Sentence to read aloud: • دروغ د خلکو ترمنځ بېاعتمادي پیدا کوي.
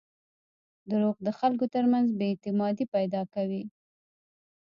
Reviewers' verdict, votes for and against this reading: rejected, 1, 2